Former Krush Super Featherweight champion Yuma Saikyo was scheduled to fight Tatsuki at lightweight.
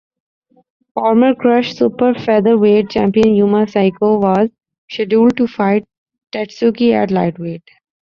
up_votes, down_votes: 3, 0